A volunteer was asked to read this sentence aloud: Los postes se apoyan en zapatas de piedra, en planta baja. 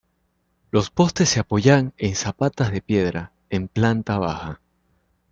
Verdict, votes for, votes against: accepted, 2, 0